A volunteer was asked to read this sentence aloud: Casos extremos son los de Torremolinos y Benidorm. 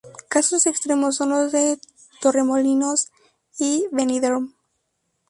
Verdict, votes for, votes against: accepted, 2, 0